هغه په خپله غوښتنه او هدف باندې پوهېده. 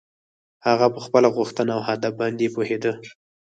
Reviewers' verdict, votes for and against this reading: accepted, 4, 0